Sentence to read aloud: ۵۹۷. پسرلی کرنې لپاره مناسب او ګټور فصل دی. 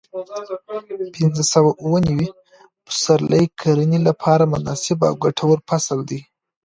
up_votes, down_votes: 0, 2